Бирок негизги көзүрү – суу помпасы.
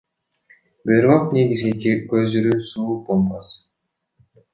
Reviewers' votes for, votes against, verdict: 2, 1, accepted